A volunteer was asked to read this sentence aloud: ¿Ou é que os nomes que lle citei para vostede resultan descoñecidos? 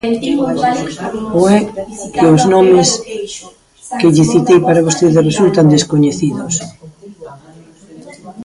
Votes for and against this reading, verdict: 2, 0, accepted